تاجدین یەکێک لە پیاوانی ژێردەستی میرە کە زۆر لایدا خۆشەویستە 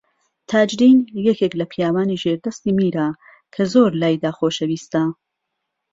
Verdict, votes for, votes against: accepted, 2, 0